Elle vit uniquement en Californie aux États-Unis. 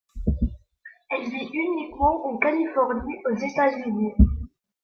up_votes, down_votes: 0, 2